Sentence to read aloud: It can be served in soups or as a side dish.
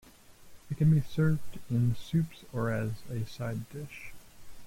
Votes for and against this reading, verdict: 0, 2, rejected